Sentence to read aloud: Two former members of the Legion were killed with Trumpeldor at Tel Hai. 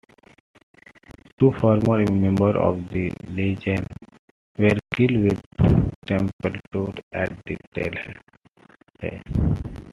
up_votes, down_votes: 2, 0